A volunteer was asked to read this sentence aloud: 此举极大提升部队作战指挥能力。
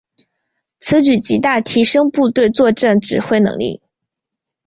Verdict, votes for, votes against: accepted, 2, 0